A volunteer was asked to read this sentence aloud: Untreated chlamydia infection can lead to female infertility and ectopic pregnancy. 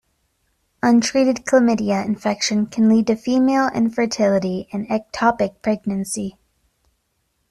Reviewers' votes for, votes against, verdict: 2, 1, accepted